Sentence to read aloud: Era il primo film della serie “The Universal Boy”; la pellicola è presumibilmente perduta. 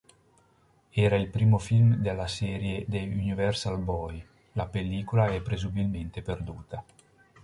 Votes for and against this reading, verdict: 0, 2, rejected